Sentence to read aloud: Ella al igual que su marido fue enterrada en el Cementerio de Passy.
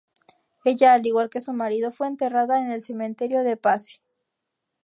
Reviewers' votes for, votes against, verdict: 2, 0, accepted